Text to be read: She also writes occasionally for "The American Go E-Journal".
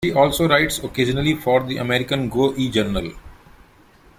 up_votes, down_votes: 0, 2